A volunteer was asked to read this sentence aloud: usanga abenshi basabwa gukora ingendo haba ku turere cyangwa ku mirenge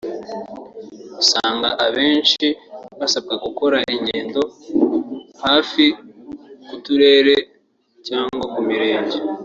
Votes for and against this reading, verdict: 0, 2, rejected